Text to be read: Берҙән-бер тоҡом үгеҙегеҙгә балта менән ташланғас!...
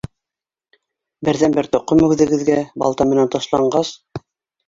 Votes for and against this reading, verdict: 2, 1, accepted